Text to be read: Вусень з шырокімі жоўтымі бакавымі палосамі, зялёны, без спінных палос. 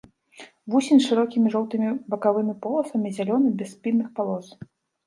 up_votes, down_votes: 0, 2